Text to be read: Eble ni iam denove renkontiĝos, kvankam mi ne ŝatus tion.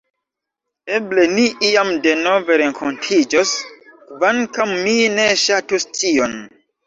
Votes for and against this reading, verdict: 1, 2, rejected